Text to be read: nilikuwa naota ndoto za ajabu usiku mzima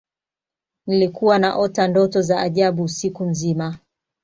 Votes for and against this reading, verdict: 2, 0, accepted